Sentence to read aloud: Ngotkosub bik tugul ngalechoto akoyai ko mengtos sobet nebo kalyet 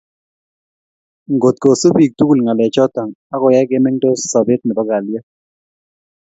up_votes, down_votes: 2, 0